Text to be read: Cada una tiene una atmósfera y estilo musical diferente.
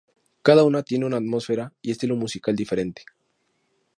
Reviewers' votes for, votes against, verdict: 2, 0, accepted